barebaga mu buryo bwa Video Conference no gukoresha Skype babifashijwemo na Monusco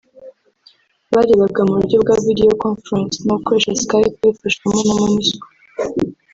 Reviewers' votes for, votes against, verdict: 1, 2, rejected